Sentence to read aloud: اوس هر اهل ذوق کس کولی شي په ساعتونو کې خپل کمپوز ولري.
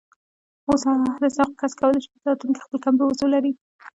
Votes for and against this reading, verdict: 1, 2, rejected